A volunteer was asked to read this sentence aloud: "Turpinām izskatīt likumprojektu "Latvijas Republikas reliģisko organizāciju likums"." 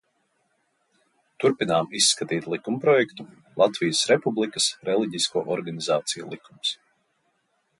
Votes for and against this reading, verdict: 2, 0, accepted